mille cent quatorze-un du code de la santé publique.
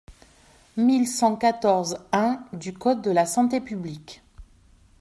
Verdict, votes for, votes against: accepted, 2, 0